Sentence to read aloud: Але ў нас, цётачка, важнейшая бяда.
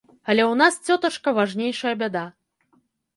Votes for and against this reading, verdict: 2, 0, accepted